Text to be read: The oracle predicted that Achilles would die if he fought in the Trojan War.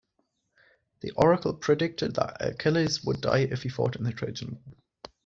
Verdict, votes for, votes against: rejected, 1, 2